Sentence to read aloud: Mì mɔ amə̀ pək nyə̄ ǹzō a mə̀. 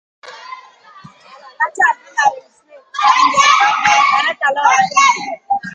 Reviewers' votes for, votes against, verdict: 0, 2, rejected